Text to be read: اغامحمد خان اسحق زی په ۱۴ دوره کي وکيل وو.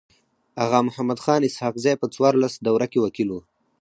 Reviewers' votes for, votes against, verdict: 0, 2, rejected